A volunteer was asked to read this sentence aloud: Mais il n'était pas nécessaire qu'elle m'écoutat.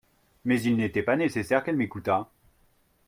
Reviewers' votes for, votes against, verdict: 2, 0, accepted